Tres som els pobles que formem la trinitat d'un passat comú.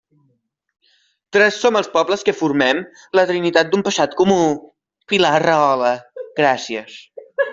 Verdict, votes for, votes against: rejected, 0, 2